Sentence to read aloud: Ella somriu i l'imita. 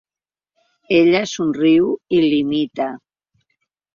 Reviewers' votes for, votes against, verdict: 2, 0, accepted